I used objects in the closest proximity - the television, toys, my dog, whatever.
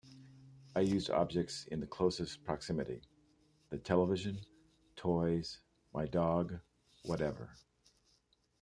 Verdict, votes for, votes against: accepted, 2, 1